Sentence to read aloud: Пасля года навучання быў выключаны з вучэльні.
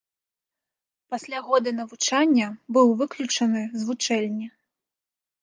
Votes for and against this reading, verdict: 2, 0, accepted